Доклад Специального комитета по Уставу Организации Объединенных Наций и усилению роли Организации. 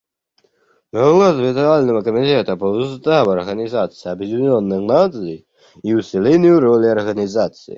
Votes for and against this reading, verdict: 0, 2, rejected